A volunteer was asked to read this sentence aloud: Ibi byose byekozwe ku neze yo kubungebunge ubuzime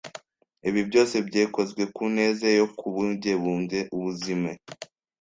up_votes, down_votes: 1, 2